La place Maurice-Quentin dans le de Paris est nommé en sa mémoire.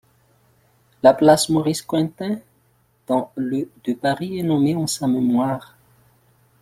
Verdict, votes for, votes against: rejected, 1, 2